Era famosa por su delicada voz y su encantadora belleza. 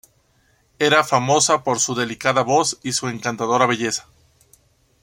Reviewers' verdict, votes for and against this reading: accepted, 2, 0